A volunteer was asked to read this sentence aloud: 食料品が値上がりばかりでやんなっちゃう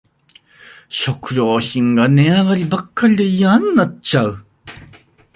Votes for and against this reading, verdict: 0, 2, rejected